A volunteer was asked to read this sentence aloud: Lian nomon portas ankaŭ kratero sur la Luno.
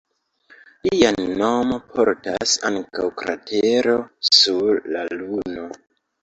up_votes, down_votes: 0, 2